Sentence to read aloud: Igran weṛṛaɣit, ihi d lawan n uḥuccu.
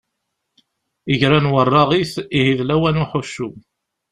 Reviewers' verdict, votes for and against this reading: accepted, 2, 0